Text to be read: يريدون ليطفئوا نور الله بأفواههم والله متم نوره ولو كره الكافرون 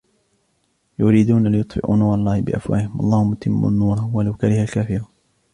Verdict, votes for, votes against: accepted, 2, 0